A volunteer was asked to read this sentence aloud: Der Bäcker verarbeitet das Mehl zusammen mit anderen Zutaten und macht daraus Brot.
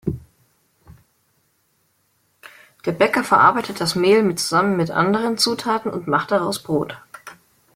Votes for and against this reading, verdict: 2, 0, accepted